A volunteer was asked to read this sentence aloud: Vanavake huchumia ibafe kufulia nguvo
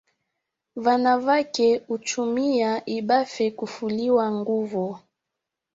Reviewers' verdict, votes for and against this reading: accepted, 3, 1